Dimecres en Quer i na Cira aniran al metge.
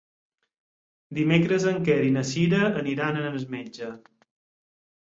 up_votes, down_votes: 6, 2